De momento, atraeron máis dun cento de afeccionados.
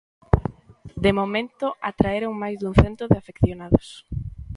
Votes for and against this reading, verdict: 0, 2, rejected